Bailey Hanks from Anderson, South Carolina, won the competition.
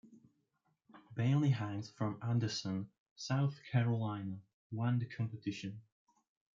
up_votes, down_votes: 2, 1